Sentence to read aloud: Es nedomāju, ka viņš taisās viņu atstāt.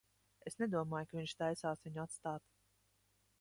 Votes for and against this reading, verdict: 2, 0, accepted